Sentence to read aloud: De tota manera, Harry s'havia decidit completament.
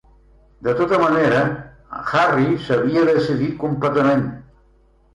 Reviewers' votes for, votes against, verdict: 1, 2, rejected